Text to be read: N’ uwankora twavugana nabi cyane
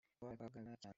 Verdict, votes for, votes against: rejected, 1, 3